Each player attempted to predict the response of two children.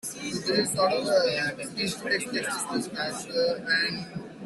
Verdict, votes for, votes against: rejected, 0, 2